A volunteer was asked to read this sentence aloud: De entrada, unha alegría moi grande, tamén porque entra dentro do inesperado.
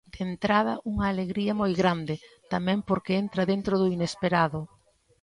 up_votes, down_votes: 2, 0